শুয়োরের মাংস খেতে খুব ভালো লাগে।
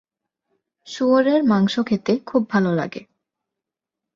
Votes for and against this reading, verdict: 8, 1, accepted